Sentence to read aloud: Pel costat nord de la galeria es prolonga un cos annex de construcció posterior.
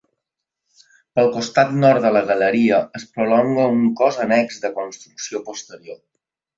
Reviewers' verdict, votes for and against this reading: rejected, 1, 2